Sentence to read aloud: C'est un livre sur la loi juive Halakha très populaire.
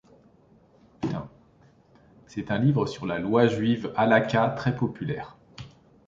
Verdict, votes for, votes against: accepted, 2, 1